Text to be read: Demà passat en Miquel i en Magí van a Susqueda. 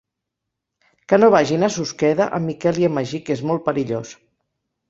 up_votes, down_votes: 0, 2